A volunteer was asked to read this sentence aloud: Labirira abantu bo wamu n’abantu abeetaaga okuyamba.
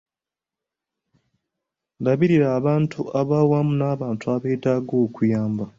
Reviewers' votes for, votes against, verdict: 0, 2, rejected